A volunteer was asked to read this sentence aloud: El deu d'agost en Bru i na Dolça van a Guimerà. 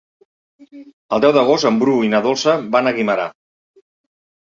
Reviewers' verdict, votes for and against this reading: accepted, 4, 0